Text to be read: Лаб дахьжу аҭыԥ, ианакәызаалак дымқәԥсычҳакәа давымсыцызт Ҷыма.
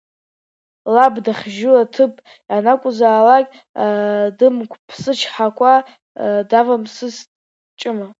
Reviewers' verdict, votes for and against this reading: rejected, 0, 2